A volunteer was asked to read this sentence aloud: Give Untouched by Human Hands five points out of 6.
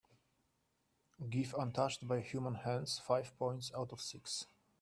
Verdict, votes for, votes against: rejected, 0, 2